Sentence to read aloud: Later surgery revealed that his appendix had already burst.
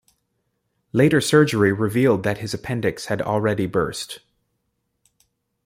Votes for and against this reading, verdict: 2, 0, accepted